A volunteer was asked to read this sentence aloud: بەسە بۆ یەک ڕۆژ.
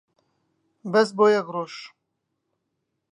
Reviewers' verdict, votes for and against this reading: rejected, 0, 2